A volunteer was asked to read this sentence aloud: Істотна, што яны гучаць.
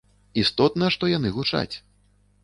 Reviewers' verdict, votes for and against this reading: accepted, 2, 0